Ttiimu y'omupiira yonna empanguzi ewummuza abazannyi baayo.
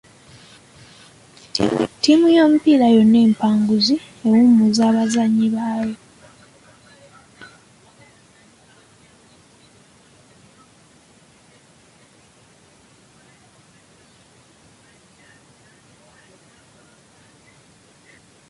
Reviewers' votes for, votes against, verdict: 0, 2, rejected